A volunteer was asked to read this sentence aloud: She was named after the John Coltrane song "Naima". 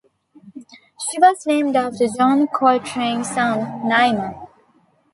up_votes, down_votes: 0, 2